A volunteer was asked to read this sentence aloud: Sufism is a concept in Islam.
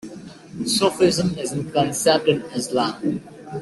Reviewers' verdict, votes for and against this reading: accepted, 2, 1